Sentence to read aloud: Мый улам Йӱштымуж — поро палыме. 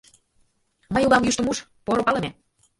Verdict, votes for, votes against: accepted, 2, 1